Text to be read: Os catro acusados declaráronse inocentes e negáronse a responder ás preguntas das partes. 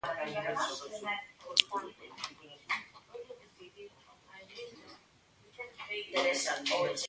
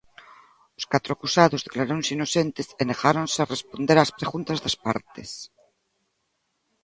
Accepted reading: second